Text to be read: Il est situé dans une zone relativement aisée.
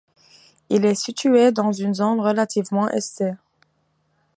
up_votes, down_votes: 2, 1